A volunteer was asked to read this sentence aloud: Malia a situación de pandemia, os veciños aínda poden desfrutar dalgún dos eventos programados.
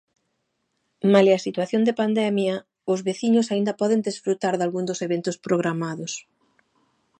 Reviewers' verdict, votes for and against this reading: accepted, 2, 0